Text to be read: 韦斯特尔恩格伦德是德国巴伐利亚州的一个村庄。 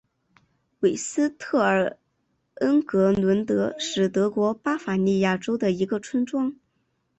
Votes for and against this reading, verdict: 5, 0, accepted